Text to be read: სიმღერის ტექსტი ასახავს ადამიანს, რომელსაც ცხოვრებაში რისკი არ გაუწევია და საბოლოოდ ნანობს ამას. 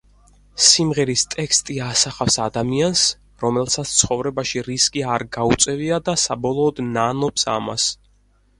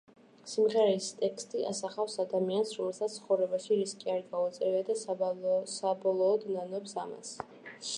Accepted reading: first